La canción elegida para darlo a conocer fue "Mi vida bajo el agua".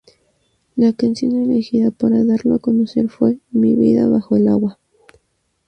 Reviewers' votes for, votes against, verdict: 0, 2, rejected